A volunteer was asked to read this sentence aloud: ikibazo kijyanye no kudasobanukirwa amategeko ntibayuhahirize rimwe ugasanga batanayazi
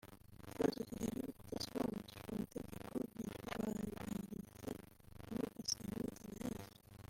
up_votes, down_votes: 0, 3